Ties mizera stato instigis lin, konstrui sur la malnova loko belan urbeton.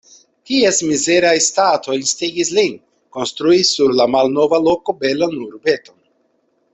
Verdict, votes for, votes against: rejected, 0, 2